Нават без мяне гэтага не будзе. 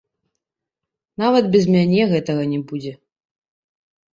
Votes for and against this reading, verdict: 1, 2, rejected